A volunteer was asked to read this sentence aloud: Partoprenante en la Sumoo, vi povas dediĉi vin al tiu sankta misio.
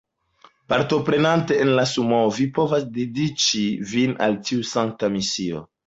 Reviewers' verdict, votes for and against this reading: accepted, 2, 0